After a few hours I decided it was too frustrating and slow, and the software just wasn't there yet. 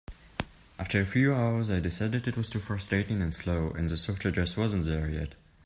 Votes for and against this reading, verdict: 2, 0, accepted